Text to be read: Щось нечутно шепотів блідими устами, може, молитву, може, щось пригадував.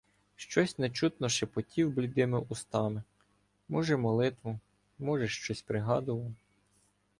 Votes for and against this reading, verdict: 2, 1, accepted